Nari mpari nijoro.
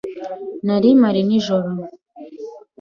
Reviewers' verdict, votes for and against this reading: accepted, 2, 0